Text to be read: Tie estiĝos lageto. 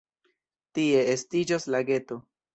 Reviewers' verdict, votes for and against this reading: accepted, 2, 0